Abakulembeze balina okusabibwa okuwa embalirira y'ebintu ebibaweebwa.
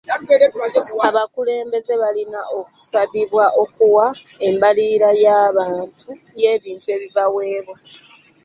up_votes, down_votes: 0, 2